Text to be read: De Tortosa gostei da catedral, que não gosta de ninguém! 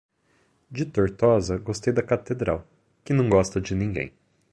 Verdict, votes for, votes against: accepted, 2, 0